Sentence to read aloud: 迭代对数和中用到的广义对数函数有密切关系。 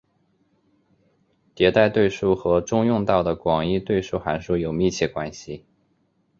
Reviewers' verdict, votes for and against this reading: accepted, 3, 0